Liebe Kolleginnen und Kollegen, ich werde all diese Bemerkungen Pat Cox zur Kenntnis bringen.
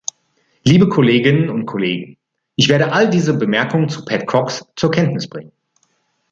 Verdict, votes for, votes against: accepted, 2, 0